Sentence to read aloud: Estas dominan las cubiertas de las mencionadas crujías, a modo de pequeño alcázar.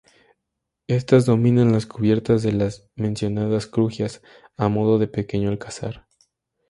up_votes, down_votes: 2, 0